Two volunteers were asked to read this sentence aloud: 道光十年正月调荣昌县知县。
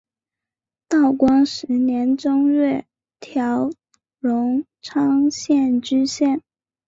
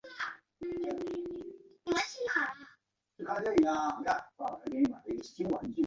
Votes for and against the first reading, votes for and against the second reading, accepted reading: 2, 0, 1, 4, first